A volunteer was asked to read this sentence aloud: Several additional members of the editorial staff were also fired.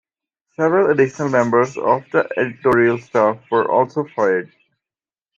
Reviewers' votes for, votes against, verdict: 2, 0, accepted